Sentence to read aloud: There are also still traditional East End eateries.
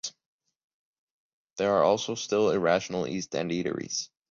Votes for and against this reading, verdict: 1, 3, rejected